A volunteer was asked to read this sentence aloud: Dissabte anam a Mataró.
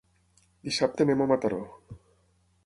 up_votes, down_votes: 3, 6